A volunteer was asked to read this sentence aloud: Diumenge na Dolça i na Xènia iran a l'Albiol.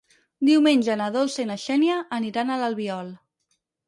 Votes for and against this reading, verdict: 0, 4, rejected